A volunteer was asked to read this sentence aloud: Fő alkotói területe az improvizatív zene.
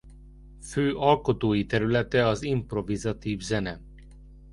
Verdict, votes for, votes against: accepted, 2, 0